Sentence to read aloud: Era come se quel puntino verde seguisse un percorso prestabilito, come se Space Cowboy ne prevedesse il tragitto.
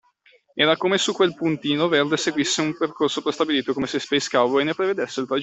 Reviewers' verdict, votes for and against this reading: rejected, 1, 2